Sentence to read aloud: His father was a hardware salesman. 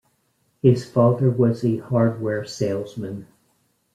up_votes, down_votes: 1, 2